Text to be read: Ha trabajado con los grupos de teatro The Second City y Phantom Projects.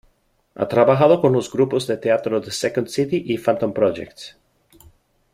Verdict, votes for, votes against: rejected, 1, 2